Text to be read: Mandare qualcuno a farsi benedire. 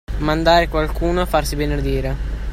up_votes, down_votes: 2, 1